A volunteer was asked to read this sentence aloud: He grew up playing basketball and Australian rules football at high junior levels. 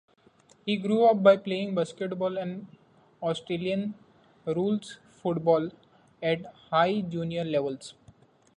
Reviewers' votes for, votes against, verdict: 2, 0, accepted